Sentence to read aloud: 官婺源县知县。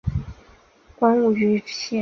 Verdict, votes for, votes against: rejected, 0, 2